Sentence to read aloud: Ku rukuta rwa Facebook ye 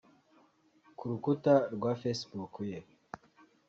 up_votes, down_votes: 2, 0